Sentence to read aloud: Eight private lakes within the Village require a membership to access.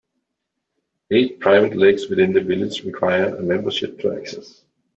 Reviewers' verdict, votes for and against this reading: accepted, 2, 0